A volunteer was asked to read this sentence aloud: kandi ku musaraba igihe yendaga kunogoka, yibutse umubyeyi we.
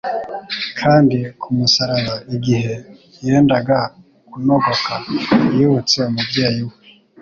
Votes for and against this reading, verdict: 2, 0, accepted